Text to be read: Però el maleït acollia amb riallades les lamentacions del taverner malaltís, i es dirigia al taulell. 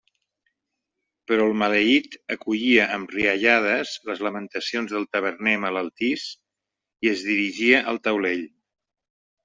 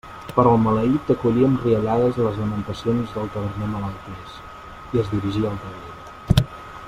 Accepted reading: first